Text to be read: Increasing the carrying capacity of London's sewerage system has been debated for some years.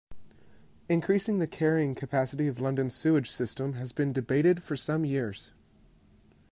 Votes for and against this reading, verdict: 1, 2, rejected